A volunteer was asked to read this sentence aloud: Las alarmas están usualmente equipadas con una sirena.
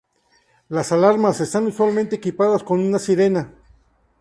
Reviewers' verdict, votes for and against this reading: accepted, 4, 0